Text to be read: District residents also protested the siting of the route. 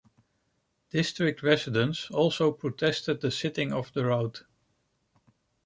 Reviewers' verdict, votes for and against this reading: rejected, 0, 2